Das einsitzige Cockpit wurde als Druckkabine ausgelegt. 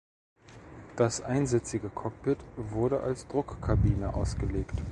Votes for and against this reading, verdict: 1, 2, rejected